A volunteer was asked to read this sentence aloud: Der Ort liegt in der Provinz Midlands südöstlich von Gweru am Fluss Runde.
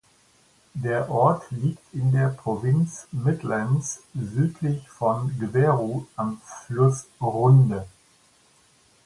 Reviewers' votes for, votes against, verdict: 0, 2, rejected